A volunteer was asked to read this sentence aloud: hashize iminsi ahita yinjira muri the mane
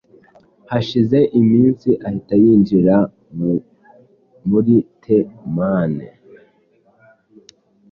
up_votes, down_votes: 1, 2